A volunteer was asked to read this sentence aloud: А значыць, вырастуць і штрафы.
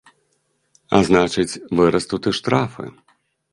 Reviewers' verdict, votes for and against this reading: rejected, 1, 2